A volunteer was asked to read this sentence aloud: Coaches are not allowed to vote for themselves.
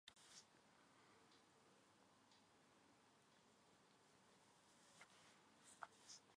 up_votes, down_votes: 0, 2